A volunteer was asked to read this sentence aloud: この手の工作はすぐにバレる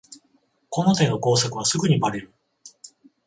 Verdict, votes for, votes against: accepted, 14, 0